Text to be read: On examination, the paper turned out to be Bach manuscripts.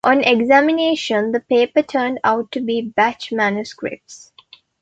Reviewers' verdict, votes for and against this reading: rejected, 0, 2